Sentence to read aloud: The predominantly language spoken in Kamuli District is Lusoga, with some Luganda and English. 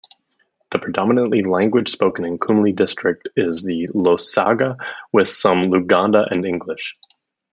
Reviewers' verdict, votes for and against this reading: rejected, 0, 2